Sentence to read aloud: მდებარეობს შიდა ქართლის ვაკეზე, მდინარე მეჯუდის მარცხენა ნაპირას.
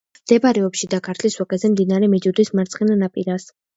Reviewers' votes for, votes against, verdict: 2, 0, accepted